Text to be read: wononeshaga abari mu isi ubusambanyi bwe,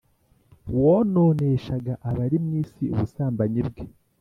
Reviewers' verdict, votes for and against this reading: accepted, 3, 0